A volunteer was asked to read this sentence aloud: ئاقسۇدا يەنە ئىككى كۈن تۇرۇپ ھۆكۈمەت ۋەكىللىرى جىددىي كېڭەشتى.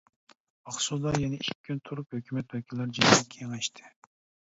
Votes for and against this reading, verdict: 0, 2, rejected